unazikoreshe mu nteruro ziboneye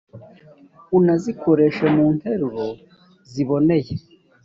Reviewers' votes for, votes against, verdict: 4, 0, accepted